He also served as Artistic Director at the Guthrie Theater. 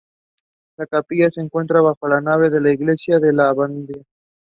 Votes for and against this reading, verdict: 0, 2, rejected